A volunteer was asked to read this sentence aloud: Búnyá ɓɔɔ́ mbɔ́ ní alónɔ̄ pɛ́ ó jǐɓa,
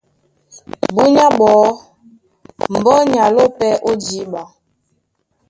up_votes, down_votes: 1, 2